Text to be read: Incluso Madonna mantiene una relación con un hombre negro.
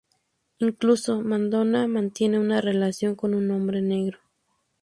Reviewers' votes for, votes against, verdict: 0, 4, rejected